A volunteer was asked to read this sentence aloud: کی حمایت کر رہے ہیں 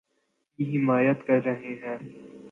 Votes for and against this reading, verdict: 2, 0, accepted